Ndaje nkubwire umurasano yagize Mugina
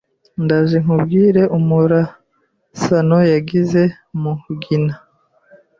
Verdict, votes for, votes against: accepted, 2, 0